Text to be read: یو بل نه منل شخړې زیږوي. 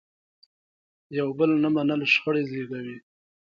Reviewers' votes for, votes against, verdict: 2, 0, accepted